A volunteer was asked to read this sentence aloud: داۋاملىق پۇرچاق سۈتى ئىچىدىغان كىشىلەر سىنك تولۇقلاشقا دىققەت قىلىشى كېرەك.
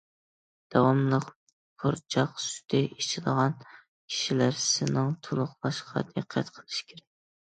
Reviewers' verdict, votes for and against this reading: rejected, 0, 2